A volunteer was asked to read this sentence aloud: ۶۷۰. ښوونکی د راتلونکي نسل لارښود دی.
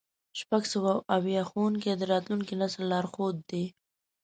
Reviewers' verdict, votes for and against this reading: rejected, 0, 2